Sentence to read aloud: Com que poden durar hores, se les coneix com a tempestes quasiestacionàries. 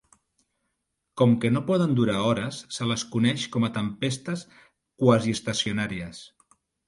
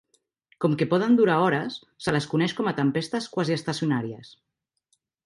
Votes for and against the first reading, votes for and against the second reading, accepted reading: 0, 2, 4, 0, second